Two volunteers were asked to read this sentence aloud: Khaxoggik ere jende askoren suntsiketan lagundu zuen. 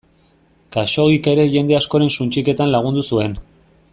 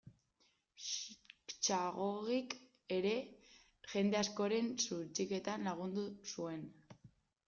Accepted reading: first